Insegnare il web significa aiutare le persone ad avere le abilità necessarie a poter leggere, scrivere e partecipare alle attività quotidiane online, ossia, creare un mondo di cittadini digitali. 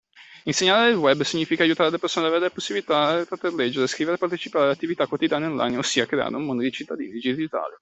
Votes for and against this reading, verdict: 0, 2, rejected